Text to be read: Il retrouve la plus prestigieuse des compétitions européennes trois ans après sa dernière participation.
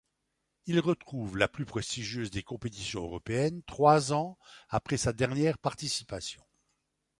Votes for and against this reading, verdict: 2, 1, accepted